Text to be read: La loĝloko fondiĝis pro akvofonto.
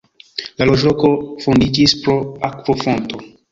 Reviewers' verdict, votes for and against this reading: rejected, 1, 2